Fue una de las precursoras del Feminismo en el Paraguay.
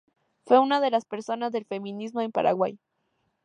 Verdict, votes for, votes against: rejected, 0, 2